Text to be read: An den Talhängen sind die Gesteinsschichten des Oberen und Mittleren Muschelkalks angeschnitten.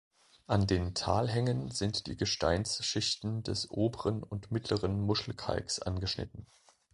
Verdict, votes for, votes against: accepted, 2, 0